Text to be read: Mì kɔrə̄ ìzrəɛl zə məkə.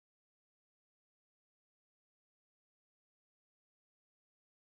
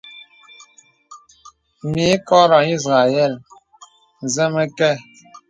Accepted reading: second